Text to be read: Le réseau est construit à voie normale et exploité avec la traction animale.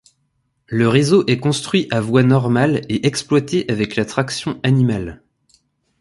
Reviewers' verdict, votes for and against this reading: accepted, 2, 0